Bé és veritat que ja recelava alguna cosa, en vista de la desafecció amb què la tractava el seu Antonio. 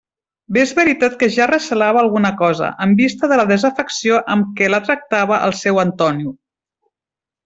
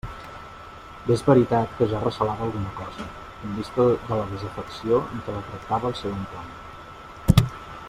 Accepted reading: first